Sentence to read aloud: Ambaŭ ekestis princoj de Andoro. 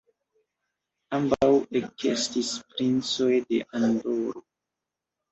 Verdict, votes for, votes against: rejected, 2, 3